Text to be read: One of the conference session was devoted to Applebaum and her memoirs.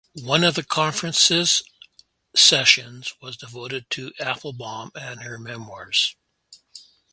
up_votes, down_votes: 0, 4